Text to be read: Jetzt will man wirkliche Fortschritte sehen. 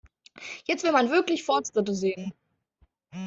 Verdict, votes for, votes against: rejected, 1, 2